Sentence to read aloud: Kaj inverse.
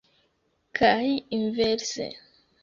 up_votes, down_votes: 3, 1